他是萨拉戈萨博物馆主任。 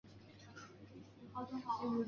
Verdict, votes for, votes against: rejected, 0, 4